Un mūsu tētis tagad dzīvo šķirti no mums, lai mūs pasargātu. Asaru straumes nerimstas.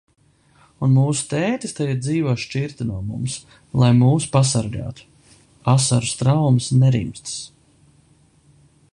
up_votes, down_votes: 2, 0